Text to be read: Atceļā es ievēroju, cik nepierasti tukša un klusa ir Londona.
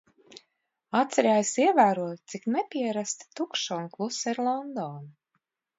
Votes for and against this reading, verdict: 2, 1, accepted